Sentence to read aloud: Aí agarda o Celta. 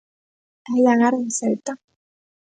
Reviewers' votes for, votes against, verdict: 2, 1, accepted